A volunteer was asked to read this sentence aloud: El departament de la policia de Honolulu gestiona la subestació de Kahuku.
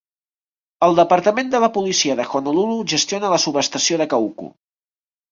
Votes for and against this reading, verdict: 2, 0, accepted